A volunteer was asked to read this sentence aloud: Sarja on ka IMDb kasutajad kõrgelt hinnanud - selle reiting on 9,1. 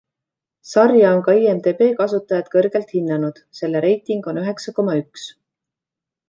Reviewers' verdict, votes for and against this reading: rejected, 0, 2